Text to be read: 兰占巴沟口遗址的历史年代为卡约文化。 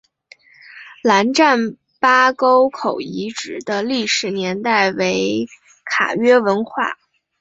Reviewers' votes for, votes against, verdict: 6, 0, accepted